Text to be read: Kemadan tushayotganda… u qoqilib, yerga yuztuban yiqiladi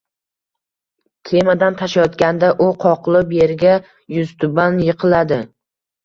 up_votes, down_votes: 2, 0